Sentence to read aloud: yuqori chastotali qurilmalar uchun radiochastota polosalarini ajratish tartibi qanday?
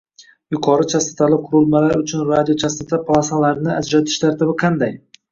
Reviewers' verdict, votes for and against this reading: rejected, 1, 2